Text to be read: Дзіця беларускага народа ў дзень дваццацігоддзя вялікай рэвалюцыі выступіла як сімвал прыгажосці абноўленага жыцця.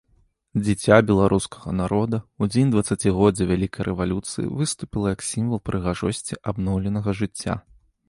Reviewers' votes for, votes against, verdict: 2, 0, accepted